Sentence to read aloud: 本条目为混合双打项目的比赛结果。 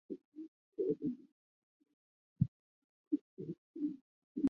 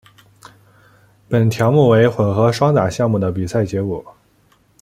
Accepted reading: second